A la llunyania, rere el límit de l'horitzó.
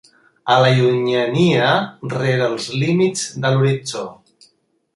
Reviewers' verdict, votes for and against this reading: rejected, 1, 2